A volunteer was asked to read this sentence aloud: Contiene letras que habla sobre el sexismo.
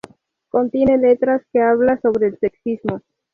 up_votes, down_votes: 2, 0